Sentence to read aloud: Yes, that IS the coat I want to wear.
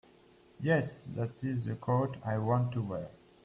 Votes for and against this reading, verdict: 1, 2, rejected